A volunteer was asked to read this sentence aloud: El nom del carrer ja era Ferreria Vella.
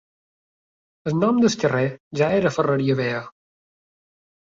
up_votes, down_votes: 1, 2